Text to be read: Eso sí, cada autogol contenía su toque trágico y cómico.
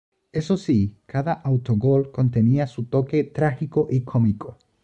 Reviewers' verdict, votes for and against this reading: accepted, 2, 1